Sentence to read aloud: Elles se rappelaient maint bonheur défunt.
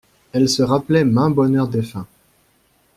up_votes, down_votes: 2, 0